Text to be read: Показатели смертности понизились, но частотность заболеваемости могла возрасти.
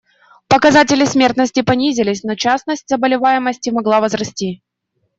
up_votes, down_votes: 0, 2